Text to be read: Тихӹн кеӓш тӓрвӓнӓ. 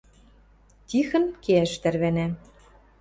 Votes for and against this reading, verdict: 2, 0, accepted